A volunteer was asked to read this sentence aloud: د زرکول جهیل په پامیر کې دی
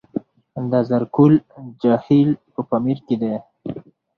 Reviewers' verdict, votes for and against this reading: accepted, 4, 2